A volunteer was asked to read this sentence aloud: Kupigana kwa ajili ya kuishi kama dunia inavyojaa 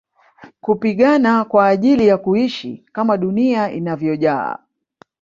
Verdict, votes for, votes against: accepted, 3, 0